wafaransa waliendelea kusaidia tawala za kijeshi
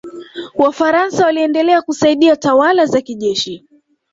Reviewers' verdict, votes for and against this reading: accepted, 2, 0